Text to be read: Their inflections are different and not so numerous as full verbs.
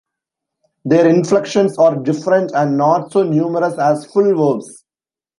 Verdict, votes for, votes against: rejected, 1, 2